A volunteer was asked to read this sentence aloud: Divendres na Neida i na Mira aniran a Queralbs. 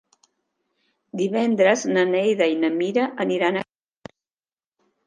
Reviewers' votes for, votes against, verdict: 0, 3, rejected